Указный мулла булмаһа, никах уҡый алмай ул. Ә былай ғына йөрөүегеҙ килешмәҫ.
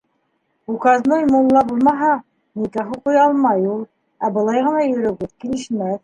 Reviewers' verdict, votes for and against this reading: rejected, 1, 2